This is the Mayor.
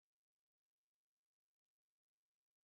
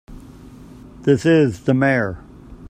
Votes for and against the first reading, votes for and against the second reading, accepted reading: 0, 3, 2, 0, second